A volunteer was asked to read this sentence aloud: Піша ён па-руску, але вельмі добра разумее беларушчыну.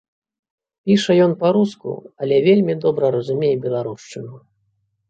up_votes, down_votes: 2, 0